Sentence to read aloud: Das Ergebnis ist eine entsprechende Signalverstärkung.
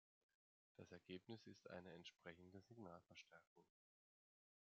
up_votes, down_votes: 2, 1